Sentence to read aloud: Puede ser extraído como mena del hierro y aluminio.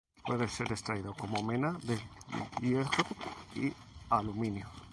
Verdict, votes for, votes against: rejected, 0, 2